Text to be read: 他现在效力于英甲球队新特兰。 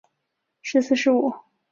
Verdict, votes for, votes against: rejected, 0, 2